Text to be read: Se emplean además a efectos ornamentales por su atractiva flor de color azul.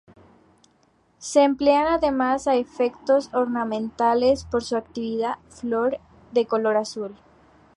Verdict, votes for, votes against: rejected, 0, 2